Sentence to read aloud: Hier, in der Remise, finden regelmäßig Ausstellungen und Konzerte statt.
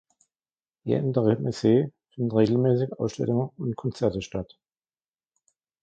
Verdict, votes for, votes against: rejected, 0, 2